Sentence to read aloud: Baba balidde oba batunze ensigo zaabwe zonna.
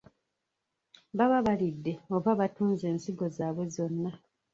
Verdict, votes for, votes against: rejected, 1, 2